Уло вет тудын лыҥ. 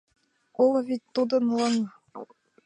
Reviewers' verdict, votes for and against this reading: accepted, 2, 0